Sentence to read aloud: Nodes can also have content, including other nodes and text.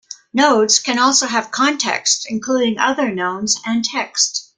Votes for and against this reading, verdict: 1, 2, rejected